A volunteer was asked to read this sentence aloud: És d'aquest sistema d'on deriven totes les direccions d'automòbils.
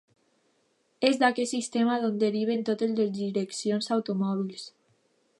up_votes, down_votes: 1, 2